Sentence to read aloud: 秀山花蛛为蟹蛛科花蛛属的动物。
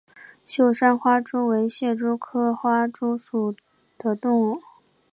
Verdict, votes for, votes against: accepted, 2, 0